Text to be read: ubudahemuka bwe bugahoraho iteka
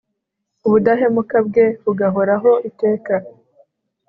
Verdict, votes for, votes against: accepted, 3, 1